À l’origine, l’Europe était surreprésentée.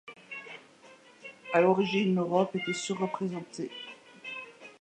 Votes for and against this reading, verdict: 2, 0, accepted